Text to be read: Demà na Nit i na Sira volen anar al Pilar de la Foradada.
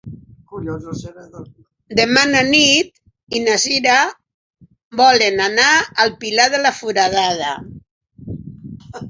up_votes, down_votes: 4, 0